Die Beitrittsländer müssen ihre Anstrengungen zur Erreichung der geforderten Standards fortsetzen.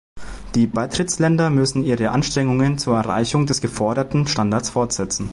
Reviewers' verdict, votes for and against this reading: rejected, 0, 2